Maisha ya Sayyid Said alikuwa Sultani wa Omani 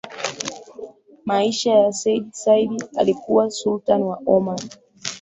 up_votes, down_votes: 11, 0